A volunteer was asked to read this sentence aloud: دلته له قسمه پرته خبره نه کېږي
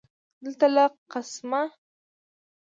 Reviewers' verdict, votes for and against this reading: rejected, 0, 2